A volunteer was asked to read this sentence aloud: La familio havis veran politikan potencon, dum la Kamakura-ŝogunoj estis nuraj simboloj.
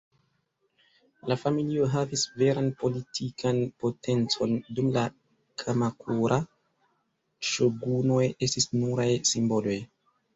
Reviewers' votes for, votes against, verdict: 2, 1, accepted